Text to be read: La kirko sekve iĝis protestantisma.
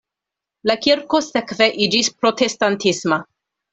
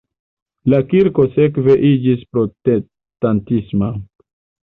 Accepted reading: first